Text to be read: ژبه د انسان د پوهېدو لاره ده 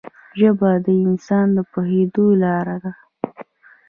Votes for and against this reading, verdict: 1, 2, rejected